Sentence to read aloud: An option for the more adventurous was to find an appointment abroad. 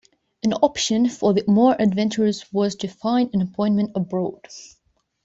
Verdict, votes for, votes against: accepted, 2, 0